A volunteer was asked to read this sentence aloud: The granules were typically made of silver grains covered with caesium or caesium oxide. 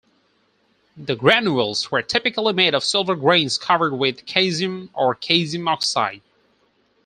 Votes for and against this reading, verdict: 4, 0, accepted